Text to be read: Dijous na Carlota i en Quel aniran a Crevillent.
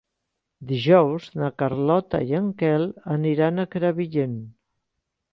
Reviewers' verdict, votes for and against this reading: accepted, 3, 1